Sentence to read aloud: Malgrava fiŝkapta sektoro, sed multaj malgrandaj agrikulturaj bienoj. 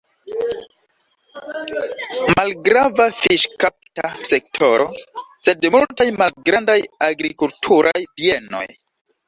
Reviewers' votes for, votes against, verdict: 2, 0, accepted